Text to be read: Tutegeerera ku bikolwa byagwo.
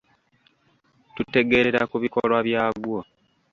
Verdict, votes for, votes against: rejected, 1, 2